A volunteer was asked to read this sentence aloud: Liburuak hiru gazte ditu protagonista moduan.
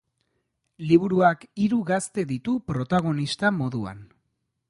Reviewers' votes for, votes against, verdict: 2, 0, accepted